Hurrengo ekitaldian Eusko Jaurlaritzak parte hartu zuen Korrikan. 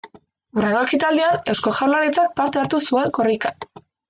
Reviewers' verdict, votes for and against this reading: rejected, 1, 3